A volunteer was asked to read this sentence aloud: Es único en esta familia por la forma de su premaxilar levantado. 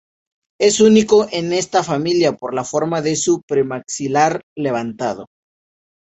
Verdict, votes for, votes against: accepted, 2, 0